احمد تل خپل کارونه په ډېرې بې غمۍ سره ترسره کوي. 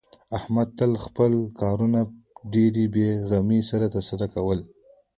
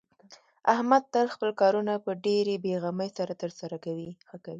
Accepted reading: first